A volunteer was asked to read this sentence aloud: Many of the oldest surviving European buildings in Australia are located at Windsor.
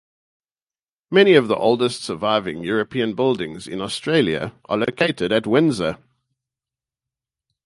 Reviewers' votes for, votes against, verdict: 0, 2, rejected